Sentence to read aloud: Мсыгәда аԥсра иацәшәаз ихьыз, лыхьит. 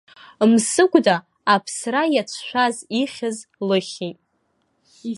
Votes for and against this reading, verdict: 2, 0, accepted